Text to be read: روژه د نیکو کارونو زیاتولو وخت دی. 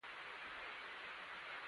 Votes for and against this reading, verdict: 0, 2, rejected